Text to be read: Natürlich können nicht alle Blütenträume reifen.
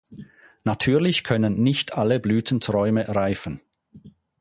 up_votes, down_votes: 4, 0